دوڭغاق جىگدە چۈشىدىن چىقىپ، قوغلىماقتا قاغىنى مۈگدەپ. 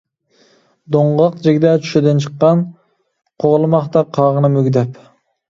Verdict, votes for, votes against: rejected, 0, 2